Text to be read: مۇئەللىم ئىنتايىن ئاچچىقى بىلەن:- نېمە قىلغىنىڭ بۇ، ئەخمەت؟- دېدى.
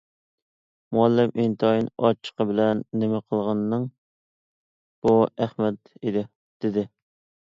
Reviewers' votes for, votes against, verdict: 1, 2, rejected